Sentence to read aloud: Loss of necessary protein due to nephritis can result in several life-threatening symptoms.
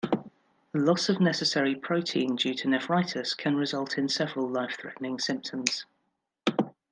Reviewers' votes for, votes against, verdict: 1, 2, rejected